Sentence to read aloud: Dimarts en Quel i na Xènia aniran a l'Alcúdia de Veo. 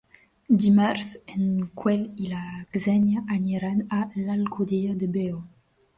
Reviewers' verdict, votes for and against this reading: rejected, 0, 2